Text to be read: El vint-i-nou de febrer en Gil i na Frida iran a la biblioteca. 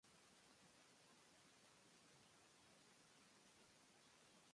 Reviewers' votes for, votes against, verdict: 0, 2, rejected